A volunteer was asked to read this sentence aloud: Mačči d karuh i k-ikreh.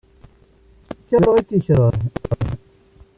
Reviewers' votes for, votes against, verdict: 0, 2, rejected